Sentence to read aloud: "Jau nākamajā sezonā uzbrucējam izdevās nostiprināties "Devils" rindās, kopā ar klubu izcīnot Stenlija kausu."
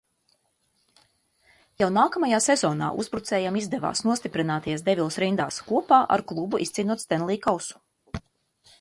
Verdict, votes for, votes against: accepted, 2, 0